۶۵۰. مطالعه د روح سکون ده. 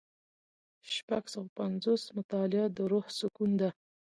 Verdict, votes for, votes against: rejected, 0, 2